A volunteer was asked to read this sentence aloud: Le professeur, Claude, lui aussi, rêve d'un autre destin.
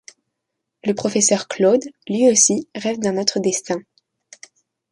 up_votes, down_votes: 2, 0